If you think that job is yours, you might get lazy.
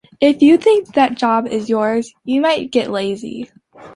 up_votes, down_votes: 2, 0